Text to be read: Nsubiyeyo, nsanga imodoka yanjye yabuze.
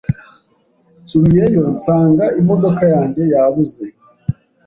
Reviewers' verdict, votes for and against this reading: accepted, 2, 0